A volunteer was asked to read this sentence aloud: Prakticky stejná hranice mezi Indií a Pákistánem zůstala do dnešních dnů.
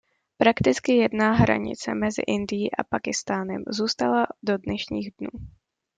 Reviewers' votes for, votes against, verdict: 1, 2, rejected